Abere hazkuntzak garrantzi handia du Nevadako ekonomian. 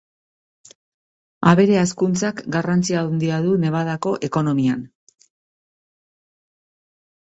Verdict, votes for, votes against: accepted, 2, 0